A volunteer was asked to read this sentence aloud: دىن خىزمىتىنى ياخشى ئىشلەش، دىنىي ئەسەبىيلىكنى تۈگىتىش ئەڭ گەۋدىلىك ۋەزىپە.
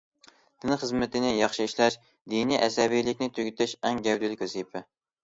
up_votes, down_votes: 2, 0